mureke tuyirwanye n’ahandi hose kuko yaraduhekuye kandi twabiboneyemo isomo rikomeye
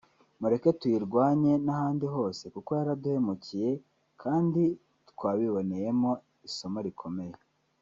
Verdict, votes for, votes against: rejected, 0, 2